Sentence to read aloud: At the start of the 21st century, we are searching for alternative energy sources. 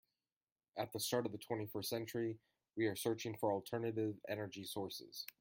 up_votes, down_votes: 0, 2